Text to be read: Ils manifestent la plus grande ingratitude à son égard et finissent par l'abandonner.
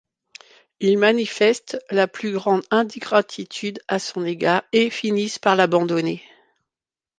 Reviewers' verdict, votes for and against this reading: rejected, 1, 2